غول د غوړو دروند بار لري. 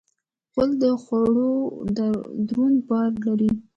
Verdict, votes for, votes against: rejected, 1, 2